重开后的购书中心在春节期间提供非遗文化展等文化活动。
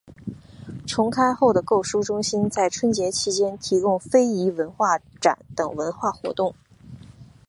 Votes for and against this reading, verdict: 3, 0, accepted